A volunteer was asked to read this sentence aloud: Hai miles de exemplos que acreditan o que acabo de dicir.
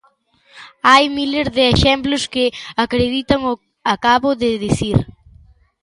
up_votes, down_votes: 0, 2